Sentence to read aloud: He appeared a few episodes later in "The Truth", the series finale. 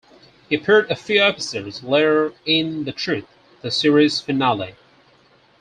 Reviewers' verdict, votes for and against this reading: rejected, 2, 4